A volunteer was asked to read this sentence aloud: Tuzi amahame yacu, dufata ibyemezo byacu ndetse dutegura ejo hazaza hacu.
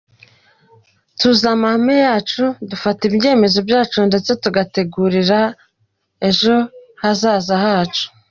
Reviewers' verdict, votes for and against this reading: rejected, 0, 2